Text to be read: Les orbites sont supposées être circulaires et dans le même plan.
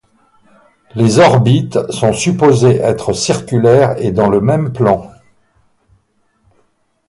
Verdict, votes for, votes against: accepted, 2, 0